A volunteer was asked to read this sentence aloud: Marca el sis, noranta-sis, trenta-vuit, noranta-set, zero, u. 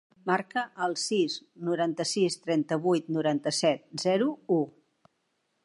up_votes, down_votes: 3, 0